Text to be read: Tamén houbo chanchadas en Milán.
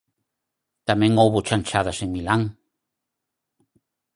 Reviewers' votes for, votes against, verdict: 4, 0, accepted